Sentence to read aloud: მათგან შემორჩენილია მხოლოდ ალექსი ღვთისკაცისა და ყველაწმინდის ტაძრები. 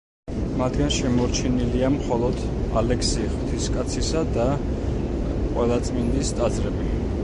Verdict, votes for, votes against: accepted, 2, 0